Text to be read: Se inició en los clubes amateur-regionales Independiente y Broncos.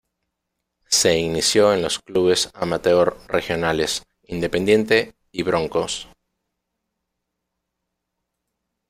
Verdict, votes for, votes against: rejected, 1, 2